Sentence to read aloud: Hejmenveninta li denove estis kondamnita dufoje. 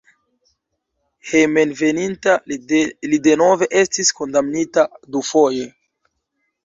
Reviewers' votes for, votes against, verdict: 0, 2, rejected